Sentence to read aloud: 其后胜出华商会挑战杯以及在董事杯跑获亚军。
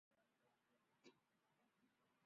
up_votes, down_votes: 1, 2